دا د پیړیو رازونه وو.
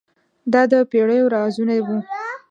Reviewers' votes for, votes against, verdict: 1, 2, rejected